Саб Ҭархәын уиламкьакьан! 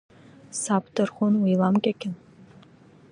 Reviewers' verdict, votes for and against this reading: rejected, 0, 2